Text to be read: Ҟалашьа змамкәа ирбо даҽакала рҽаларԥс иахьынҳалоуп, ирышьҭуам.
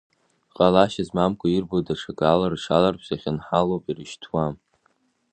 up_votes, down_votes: 1, 2